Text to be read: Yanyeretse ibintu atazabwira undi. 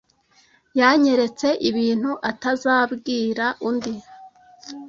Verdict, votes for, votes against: accepted, 2, 0